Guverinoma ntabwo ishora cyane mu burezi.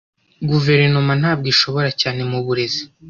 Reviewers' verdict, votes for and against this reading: rejected, 0, 2